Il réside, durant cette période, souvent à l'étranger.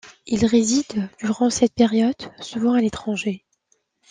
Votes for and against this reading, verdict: 2, 0, accepted